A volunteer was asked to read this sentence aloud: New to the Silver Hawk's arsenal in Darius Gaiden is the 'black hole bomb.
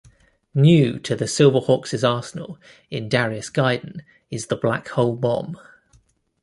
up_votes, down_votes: 2, 0